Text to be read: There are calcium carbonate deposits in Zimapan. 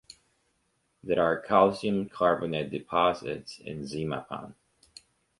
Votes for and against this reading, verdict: 2, 0, accepted